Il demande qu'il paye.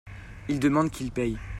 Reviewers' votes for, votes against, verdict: 2, 0, accepted